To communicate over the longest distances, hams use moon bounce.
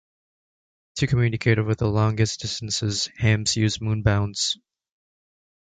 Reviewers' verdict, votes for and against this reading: accepted, 2, 0